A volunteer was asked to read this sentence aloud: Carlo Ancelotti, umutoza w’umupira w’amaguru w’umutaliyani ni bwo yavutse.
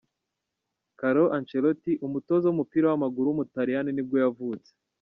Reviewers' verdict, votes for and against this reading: rejected, 1, 2